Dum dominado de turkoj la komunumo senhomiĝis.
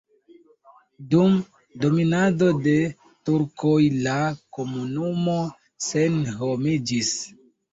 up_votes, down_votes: 0, 2